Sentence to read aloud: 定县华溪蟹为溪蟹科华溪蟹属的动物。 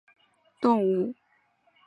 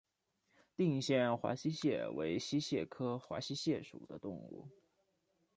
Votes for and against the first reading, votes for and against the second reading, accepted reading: 0, 2, 2, 0, second